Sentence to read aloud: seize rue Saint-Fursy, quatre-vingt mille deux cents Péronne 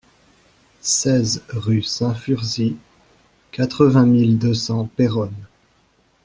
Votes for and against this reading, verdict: 2, 0, accepted